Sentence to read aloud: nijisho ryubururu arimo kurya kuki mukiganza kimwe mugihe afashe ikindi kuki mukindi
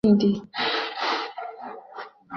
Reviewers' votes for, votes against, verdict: 0, 2, rejected